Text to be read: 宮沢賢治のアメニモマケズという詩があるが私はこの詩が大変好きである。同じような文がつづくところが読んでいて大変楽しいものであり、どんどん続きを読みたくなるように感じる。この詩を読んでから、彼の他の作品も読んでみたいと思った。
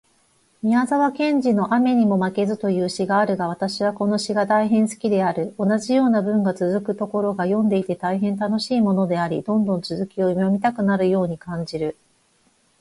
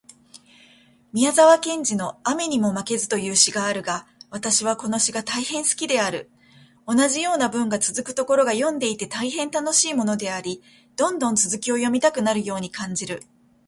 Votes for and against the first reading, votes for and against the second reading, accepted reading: 0, 4, 2, 0, second